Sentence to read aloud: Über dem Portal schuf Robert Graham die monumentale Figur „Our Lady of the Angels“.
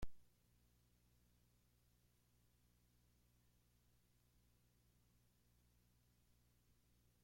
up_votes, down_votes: 0, 2